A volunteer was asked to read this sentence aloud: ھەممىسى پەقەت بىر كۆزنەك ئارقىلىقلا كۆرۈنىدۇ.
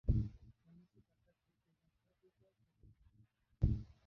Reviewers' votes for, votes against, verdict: 0, 2, rejected